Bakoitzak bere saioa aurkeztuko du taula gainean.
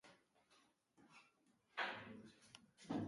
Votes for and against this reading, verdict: 0, 2, rejected